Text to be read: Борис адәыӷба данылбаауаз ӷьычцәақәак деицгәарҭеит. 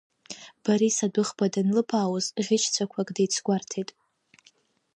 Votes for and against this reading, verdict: 2, 0, accepted